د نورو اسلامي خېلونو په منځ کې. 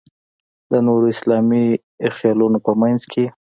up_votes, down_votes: 2, 0